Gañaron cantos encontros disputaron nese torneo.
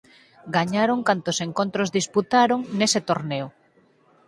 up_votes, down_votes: 4, 2